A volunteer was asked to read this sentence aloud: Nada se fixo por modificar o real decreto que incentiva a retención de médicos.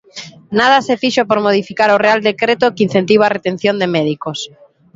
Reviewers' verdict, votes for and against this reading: accepted, 3, 0